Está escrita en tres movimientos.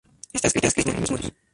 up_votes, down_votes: 0, 2